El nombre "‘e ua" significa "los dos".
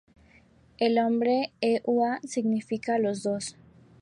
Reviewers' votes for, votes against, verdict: 0, 2, rejected